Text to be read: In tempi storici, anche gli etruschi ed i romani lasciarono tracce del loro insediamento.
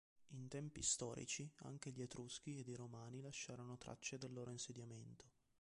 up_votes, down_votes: 2, 1